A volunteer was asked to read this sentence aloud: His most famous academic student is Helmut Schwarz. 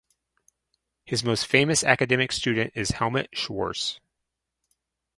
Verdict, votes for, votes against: accepted, 4, 0